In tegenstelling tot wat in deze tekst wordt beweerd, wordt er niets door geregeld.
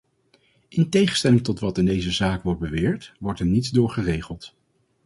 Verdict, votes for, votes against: rejected, 0, 2